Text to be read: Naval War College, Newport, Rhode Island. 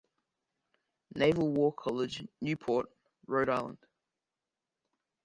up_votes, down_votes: 2, 0